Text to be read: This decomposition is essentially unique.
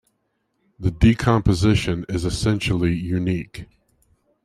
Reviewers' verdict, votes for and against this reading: rejected, 0, 2